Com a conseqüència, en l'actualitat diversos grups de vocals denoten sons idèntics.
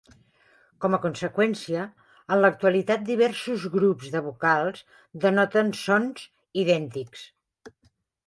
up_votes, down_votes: 3, 0